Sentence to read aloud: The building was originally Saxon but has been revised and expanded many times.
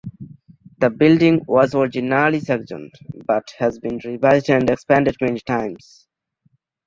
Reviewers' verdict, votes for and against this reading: rejected, 1, 2